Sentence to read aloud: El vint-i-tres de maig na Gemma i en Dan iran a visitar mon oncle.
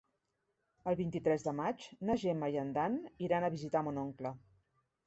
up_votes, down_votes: 3, 0